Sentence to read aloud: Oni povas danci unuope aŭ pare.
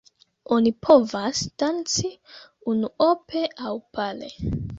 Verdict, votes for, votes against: rejected, 1, 2